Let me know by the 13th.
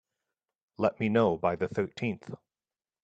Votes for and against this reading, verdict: 0, 2, rejected